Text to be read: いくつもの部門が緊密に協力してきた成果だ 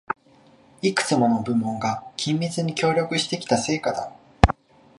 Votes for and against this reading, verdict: 2, 1, accepted